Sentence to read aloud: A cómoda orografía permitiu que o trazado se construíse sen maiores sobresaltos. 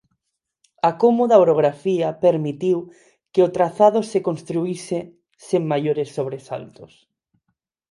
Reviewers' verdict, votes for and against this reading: accepted, 4, 0